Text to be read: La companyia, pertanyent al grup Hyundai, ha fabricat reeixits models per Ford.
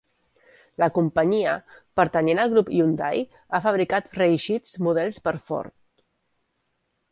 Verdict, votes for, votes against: accepted, 2, 0